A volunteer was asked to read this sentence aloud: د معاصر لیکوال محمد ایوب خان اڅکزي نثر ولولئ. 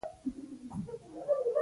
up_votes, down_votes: 0, 2